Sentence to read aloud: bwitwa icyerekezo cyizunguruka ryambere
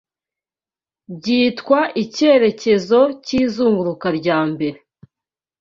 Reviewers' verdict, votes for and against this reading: rejected, 0, 2